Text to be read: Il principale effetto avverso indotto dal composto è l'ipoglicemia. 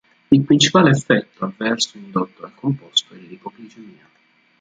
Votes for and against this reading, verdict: 0, 2, rejected